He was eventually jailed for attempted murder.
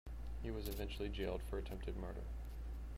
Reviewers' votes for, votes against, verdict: 0, 2, rejected